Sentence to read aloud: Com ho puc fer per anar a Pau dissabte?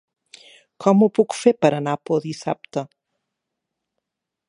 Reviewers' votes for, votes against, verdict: 0, 6, rejected